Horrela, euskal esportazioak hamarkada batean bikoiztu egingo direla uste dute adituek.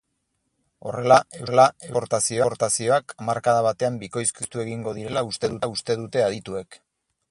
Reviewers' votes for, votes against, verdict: 0, 4, rejected